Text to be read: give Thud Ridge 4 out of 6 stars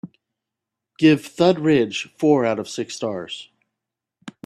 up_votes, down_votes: 0, 2